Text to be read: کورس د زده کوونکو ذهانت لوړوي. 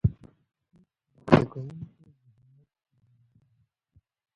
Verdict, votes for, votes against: rejected, 0, 2